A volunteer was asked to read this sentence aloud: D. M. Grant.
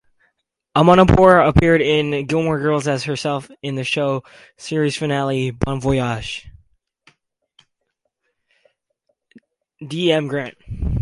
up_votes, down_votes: 0, 4